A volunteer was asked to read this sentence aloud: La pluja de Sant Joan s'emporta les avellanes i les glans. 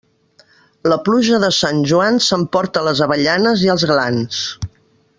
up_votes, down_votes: 0, 2